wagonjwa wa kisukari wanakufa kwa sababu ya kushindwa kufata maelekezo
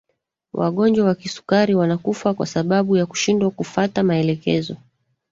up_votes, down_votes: 1, 2